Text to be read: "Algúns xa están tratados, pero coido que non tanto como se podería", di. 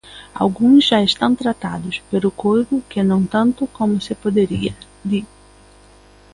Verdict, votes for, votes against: rejected, 0, 2